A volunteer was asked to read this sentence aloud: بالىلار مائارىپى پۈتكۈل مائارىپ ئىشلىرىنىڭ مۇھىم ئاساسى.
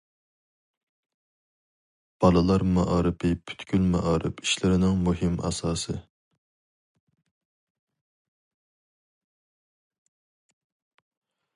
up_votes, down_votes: 2, 0